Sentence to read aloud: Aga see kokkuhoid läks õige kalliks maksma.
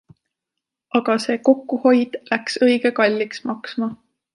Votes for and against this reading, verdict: 2, 0, accepted